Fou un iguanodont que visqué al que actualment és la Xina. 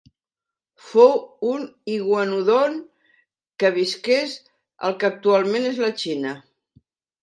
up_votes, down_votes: 0, 2